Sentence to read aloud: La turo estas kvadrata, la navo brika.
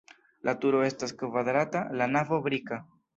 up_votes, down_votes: 0, 2